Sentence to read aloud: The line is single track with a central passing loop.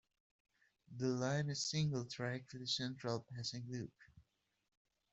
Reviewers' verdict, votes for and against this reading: rejected, 0, 2